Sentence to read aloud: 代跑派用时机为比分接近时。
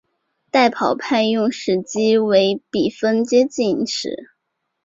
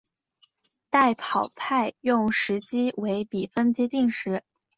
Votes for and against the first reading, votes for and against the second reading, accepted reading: 1, 2, 2, 0, second